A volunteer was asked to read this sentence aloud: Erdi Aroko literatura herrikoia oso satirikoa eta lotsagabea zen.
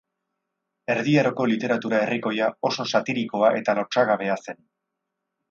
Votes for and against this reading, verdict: 4, 0, accepted